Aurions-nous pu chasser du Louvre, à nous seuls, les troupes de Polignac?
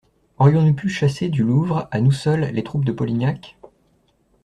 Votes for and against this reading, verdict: 2, 0, accepted